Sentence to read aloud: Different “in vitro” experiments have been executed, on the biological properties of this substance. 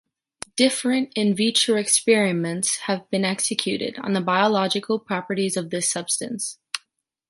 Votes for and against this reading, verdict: 2, 0, accepted